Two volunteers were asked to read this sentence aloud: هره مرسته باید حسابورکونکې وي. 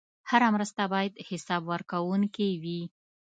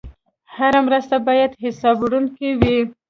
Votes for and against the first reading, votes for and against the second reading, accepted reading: 2, 0, 0, 2, first